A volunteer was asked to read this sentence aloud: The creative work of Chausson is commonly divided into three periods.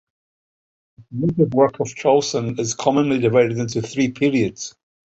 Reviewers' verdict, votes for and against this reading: rejected, 0, 2